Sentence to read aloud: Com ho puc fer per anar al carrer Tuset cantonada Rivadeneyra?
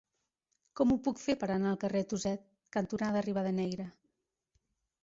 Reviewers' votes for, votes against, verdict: 2, 0, accepted